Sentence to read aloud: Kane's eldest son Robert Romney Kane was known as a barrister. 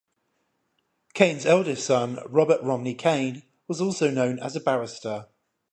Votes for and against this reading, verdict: 5, 5, rejected